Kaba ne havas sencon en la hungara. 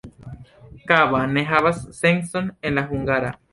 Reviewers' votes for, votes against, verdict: 2, 0, accepted